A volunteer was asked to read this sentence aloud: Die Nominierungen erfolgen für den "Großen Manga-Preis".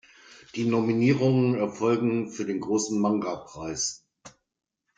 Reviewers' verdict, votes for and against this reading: accepted, 2, 0